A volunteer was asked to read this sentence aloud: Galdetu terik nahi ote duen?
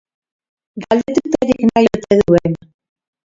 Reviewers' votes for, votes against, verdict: 0, 2, rejected